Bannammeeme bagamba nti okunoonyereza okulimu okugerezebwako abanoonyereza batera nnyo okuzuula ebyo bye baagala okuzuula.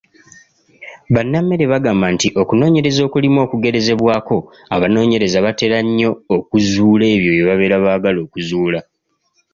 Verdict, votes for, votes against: rejected, 0, 2